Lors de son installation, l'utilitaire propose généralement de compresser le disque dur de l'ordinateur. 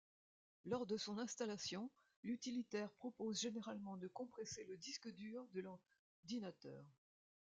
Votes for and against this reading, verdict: 1, 2, rejected